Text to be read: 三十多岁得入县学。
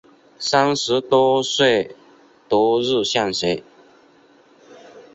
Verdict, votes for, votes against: rejected, 0, 2